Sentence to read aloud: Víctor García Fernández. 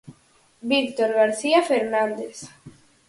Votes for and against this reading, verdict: 4, 0, accepted